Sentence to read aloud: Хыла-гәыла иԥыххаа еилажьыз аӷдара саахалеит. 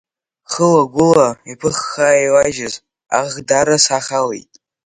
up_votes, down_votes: 1, 2